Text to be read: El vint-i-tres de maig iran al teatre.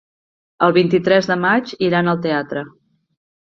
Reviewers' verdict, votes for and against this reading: accepted, 3, 0